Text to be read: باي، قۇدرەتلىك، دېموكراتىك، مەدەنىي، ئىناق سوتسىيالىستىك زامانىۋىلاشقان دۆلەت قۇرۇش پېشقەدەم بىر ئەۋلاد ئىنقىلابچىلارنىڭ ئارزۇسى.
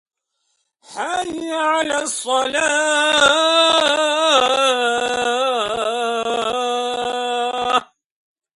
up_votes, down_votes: 0, 2